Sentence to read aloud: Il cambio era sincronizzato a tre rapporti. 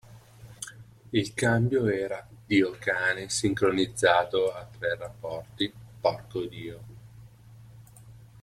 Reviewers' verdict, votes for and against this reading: rejected, 0, 2